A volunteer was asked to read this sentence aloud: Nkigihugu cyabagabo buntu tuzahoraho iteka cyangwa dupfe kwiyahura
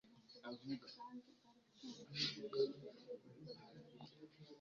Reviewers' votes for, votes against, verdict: 1, 2, rejected